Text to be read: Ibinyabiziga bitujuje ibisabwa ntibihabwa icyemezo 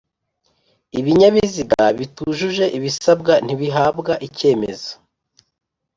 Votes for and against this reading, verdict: 3, 0, accepted